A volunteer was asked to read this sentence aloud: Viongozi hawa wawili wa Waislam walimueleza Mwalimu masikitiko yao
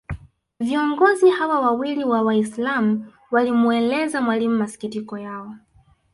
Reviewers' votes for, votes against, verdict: 2, 0, accepted